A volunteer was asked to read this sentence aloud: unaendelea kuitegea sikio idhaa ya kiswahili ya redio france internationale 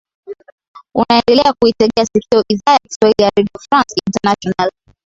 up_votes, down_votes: 2, 0